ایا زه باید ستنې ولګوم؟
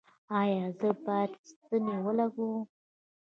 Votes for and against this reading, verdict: 0, 2, rejected